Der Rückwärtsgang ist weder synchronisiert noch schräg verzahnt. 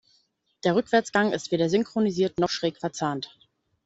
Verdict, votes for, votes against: accepted, 2, 0